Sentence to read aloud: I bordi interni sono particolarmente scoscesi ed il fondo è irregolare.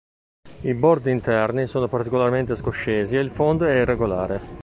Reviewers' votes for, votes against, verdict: 2, 1, accepted